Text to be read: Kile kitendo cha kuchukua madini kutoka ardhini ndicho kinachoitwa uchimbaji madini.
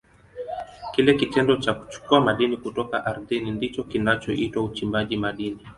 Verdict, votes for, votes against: accepted, 2, 0